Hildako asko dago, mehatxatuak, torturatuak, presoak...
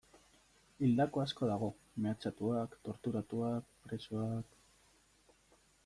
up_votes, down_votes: 2, 0